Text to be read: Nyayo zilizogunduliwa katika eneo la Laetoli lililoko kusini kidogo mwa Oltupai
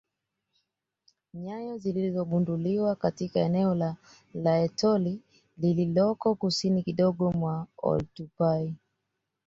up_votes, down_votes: 2, 0